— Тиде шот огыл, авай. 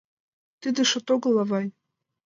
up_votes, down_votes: 2, 0